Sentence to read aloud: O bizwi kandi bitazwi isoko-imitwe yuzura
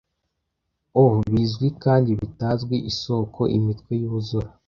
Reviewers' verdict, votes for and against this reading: accepted, 2, 0